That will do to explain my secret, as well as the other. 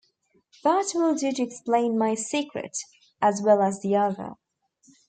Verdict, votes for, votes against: rejected, 1, 2